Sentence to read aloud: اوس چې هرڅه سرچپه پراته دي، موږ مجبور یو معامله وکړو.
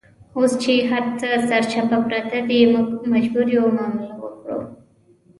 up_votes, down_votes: 2, 1